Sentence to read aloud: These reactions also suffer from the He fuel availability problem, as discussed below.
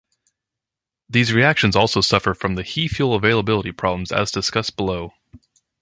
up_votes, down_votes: 2, 0